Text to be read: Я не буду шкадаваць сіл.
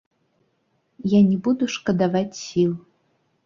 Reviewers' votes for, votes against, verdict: 2, 3, rejected